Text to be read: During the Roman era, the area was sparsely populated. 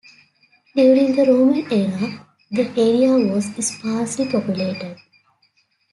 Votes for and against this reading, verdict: 2, 0, accepted